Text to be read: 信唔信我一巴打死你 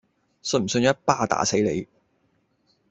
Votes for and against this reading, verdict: 1, 2, rejected